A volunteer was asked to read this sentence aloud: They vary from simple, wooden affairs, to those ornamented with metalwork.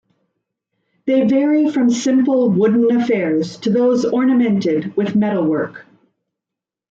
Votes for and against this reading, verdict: 2, 0, accepted